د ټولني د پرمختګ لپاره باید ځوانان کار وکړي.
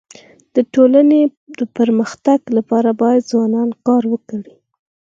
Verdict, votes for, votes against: accepted, 4, 2